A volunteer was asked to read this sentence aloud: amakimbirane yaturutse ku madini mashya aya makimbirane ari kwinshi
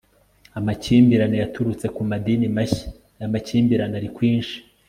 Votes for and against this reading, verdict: 2, 0, accepted